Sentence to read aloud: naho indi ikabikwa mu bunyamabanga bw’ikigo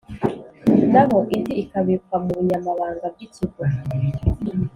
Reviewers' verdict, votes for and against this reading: accepted, 2, 0